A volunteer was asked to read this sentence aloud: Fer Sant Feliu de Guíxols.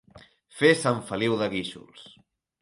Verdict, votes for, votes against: accepted, 3, 0